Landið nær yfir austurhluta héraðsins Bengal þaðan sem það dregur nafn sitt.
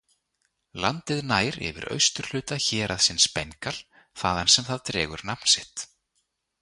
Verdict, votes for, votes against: accepted, 2, 0